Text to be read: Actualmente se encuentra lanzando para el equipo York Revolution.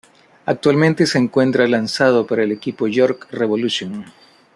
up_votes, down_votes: 0, 2